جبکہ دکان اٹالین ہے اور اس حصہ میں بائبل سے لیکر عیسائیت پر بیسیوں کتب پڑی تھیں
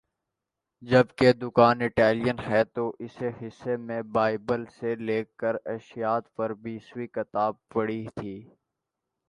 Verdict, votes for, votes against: rejected, 0, 2